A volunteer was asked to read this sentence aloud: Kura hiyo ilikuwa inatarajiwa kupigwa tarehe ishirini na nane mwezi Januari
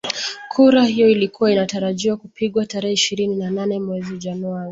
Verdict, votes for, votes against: accepted, 2, 0